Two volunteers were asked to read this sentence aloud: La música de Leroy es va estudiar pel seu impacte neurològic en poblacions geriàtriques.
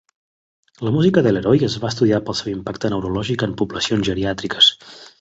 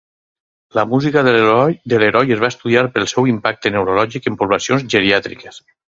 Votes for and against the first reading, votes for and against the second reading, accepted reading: 2, 0, 2, 4, first